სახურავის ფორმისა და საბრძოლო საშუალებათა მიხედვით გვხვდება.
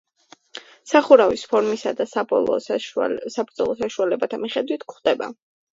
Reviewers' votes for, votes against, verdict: 0, 2, rejected